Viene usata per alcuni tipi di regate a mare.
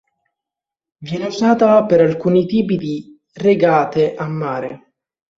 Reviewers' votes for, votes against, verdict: 2, 0, accepted